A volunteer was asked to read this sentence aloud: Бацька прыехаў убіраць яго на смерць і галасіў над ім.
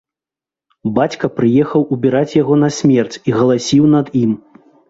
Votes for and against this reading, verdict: 2, 0, accepted